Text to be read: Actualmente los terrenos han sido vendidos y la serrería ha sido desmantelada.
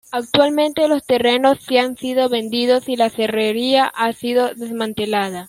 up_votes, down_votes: 1, 2